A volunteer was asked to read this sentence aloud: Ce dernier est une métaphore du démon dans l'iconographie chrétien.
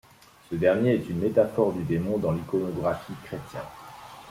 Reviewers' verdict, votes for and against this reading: accepted, 3, 0